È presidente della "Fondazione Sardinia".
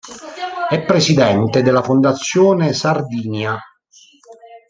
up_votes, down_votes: 1, 2